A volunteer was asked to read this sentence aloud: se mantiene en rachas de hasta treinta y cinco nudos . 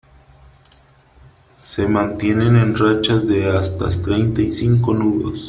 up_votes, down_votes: 1, 3